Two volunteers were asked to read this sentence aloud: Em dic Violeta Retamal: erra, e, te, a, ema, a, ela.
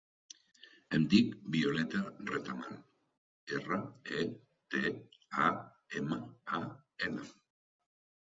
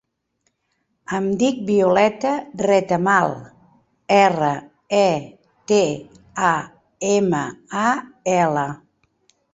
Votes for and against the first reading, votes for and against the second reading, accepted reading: 0, 2, 2, 0, second